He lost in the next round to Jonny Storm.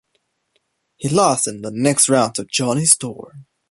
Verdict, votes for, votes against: accepted, 2, 0